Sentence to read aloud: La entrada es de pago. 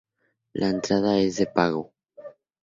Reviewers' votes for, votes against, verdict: 2, 0, accepted